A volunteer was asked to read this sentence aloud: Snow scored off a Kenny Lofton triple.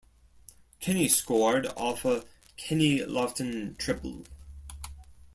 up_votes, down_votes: 0, 2